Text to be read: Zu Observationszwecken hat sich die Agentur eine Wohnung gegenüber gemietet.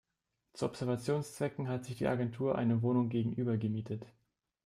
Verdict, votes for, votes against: accepted, 3, 0